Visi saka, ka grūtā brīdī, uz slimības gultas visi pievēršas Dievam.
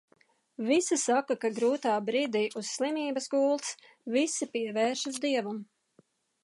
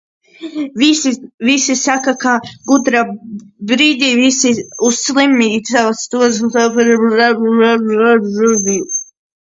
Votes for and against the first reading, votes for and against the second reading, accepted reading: 2, 0, 0, 2, first